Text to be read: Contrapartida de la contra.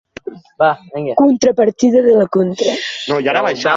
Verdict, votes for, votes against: rejected, 1, 2